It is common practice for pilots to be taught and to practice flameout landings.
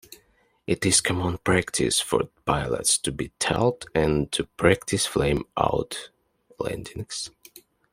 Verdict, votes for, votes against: accepted, 2, 0